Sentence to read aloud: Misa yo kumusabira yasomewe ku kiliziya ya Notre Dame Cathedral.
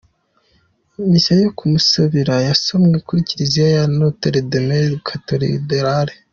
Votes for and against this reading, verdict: 2, 0, accepted